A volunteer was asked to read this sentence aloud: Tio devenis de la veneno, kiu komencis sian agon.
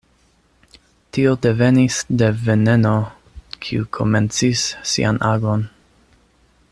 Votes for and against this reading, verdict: 0, 2, rejected